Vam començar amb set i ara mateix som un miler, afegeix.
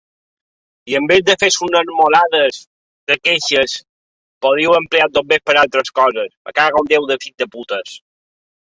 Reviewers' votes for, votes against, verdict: 0, 2, rejected